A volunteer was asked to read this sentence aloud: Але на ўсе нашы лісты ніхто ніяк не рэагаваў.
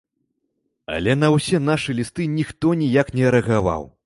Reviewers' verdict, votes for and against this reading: accepted, 2, 0